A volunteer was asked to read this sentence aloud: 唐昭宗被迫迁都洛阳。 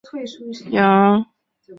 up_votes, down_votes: 0, 2